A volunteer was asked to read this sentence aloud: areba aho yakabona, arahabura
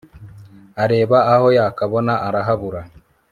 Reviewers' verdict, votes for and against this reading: accepted, 3, 0